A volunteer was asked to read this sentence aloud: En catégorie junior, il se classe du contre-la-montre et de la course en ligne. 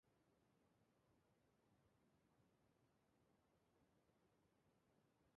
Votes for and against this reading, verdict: 0, 2, rejected